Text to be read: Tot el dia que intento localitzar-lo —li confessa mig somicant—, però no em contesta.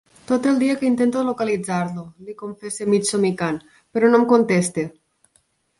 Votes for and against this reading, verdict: 3, 1, accepted